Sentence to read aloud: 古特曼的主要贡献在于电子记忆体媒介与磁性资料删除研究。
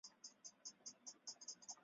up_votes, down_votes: 0, 2